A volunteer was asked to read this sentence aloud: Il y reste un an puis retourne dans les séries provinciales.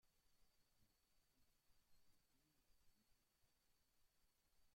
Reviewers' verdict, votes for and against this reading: rejected, 0, 2